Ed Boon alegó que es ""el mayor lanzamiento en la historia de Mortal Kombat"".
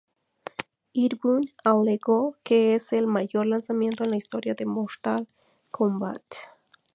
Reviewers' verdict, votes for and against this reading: accepted, 2, 0